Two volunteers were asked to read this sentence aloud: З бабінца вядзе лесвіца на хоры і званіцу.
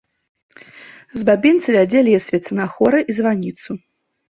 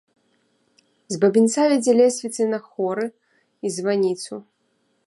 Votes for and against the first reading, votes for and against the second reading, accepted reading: 3, 0, 1, 2, first